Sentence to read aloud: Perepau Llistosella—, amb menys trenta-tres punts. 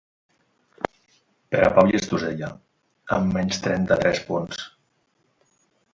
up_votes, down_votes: 0, 2